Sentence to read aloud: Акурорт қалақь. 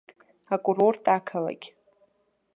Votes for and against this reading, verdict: 0, 2, rejected